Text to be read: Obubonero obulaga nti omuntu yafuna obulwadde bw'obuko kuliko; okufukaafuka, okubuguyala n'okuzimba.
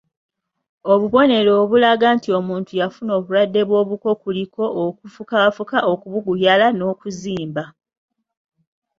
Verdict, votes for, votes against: accepted, 2, 0